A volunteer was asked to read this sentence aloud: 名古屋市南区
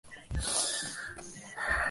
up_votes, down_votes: 2, 5